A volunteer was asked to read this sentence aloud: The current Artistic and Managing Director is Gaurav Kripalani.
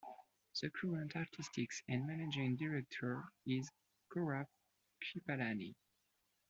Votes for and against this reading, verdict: 2, 0, accepted